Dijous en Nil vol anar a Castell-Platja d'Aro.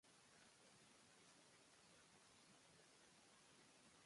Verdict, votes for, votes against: rejected, 1, 3